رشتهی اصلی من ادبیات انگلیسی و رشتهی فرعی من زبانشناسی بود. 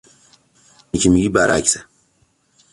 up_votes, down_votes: 0, 2